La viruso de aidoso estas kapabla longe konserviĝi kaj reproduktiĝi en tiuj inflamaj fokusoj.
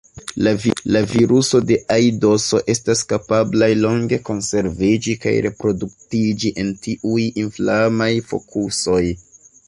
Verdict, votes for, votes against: rejected, 1, 3